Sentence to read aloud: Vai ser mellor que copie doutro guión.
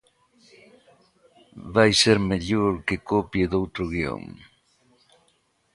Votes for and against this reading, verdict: 2, 0, accepted